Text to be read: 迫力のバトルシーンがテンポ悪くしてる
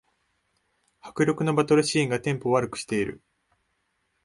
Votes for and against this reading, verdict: 2, 1, accepted